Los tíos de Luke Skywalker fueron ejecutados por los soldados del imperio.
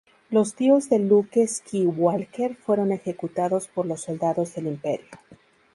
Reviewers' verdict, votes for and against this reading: rejected, 0, 2